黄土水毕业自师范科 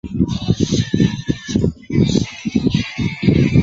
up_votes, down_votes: 0, 2